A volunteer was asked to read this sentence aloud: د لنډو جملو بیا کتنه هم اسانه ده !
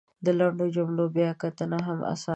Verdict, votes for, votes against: rejected, 1, 3